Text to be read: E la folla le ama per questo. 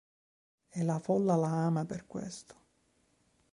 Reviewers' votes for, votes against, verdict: 1, 2, rejected